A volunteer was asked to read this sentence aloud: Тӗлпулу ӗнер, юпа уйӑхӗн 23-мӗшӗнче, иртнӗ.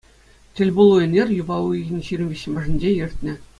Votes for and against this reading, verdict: 0, 2, rejected